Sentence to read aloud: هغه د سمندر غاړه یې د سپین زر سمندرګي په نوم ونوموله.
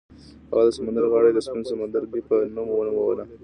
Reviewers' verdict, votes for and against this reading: accepted, 2, 0